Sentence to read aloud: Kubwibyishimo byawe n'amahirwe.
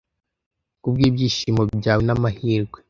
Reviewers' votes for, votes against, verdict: 2, 0, accepted